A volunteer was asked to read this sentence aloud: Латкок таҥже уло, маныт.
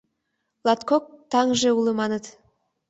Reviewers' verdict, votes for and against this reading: accepted, 2, 0